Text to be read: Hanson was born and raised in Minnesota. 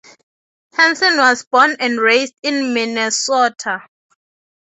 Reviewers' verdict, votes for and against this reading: accepted, 3, 0